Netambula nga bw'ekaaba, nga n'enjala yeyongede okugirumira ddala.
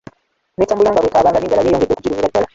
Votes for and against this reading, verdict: 1, 2, rejected